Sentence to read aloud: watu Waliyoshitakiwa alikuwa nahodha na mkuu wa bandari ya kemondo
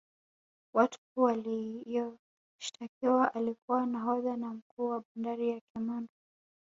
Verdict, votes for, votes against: accepted, 2, 1